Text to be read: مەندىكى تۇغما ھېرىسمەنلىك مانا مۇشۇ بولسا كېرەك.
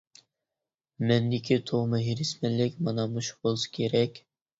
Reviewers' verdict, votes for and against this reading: accepted, 2, 0